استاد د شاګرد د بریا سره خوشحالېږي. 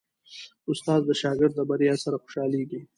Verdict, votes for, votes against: accepted, 2, 0